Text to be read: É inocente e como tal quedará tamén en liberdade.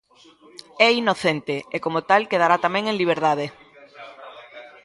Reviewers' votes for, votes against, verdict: 1, 2, rejected